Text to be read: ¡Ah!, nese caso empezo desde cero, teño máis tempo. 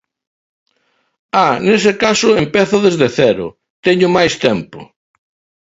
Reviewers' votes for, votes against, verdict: 2, 0, accepted